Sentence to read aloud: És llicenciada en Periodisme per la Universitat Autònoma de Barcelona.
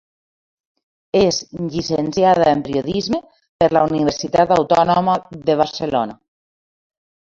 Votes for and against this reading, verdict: 1, 2, rejected